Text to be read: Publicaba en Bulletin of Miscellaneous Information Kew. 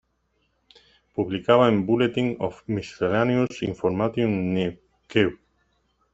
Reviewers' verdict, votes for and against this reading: rejected, 1, 2